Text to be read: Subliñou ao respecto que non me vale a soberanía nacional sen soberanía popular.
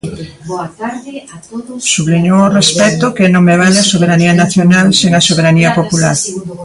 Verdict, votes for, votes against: rejected, 0, 2